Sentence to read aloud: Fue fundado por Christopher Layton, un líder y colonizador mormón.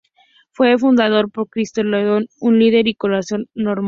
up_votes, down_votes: 0, 4